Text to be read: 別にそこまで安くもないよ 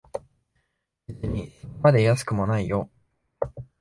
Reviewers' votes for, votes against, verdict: 0, 2, rejected